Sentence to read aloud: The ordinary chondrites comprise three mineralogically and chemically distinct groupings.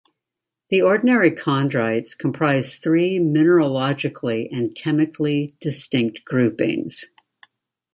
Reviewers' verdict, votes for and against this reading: rejected, 0, 2